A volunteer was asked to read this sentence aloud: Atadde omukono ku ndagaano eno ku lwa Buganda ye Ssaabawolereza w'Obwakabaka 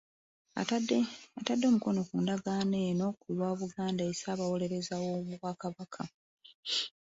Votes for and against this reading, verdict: 1, 2, rejected